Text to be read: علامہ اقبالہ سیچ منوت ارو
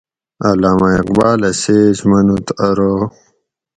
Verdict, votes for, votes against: accepted, 4, 0